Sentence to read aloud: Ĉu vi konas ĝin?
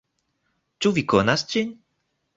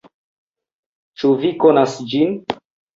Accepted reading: first